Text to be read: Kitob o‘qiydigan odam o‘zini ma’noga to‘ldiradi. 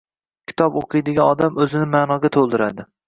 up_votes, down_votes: 2, 0